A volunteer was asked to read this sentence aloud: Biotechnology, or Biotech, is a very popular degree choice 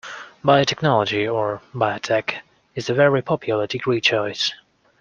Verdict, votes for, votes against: accepted, 2, 0